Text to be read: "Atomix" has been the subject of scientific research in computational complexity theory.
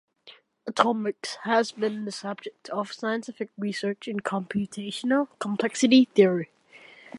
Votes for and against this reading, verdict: 2, 0, accepted